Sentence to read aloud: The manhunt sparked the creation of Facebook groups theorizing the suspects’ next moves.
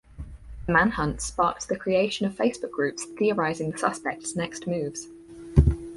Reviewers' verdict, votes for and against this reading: rejected, 2, 4